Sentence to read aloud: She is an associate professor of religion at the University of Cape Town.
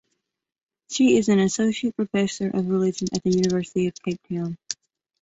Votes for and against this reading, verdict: 2, 0, accepted